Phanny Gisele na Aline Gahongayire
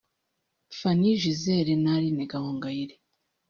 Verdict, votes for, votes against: accepted, 2, 1